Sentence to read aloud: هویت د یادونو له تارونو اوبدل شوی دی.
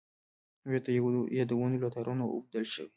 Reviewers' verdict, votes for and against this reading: rejected, 1, 2